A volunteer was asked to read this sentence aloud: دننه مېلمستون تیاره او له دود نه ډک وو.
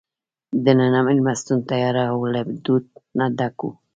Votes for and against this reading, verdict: 1, 2, rejected